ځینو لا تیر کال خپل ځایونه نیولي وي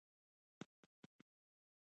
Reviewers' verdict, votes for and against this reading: rejected, 0, 2